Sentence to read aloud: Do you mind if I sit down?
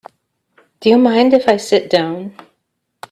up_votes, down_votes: 2, 0